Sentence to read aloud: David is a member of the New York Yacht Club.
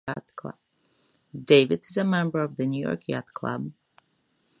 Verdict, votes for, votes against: rejected, 1, 2